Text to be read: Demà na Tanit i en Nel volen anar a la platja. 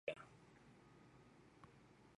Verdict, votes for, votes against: rejected, 0, 2